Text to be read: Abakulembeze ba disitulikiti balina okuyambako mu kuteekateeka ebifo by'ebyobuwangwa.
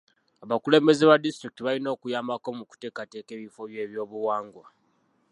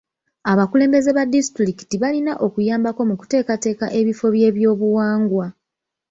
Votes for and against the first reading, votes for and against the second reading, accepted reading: 0, 2, 2, 1, second